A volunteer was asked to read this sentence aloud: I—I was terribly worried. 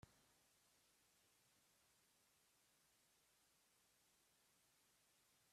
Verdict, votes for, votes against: rejected, 0, 2